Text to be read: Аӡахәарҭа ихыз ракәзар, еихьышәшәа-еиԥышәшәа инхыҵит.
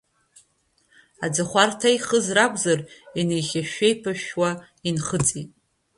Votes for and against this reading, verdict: 2, 0, accepted